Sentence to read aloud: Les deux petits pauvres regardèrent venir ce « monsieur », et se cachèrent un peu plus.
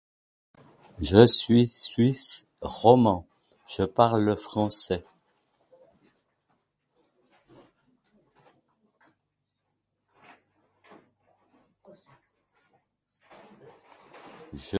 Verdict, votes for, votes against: rejected, 0, 2